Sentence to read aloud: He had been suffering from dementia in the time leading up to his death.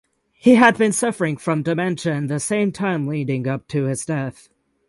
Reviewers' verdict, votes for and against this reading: rejected, 3, 6